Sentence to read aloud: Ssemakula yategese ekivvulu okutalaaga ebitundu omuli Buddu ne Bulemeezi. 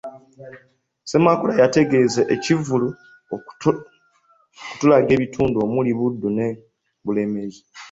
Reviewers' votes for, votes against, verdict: 0, 2, rejected